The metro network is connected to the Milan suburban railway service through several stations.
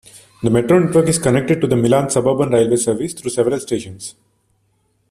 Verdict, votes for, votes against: accepted, 2, 1